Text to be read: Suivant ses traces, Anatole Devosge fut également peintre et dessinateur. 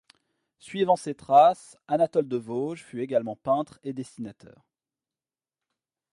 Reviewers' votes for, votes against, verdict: 1, 2, rejected